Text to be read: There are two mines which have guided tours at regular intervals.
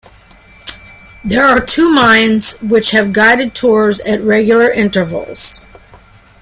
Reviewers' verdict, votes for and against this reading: accepted, 2, 0